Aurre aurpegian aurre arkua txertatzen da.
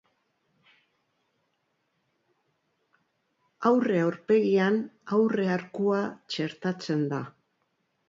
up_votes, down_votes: 1, 2